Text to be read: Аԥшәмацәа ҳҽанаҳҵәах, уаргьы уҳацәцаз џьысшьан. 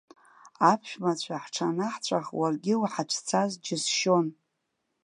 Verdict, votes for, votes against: rejected, 0, 2